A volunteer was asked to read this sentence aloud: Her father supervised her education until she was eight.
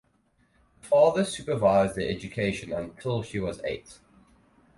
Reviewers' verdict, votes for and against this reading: rejected, 0, 4